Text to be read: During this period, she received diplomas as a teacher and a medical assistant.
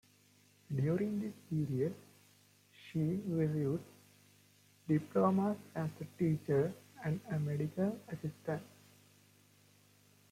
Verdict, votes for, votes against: rejected, 1, 2